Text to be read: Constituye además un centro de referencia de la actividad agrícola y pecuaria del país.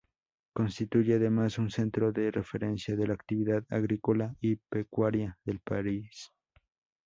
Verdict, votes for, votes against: rejected, 0, 2